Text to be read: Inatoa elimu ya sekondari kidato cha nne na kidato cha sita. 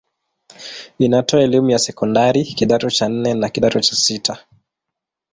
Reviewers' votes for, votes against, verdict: 2, 1, accepted